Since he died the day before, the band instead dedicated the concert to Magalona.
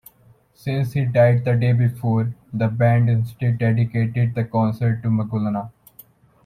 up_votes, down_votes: 1, 2